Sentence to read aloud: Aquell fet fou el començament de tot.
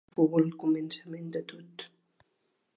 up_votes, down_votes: 0, 3